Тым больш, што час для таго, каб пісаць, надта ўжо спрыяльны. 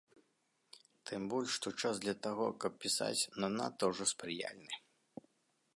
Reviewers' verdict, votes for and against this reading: rejected, 0, 2